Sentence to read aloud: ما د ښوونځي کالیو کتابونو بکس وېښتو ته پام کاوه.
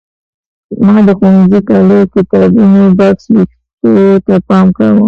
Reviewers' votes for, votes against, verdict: 1, 2, rejected